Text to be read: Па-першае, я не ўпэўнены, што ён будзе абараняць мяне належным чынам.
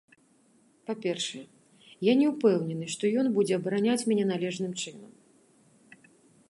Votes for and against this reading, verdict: 0, 2, rejected